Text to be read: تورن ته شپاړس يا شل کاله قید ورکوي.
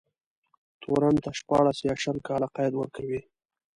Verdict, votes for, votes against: rejected, 0, 2